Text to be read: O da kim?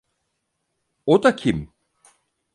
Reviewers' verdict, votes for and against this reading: accepted, 4, 0